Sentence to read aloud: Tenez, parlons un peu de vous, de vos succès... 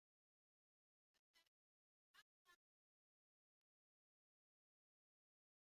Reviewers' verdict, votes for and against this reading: rejected, 0, 2